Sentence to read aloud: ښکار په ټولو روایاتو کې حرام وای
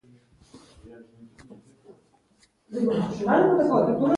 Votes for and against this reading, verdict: 2, 0, accepted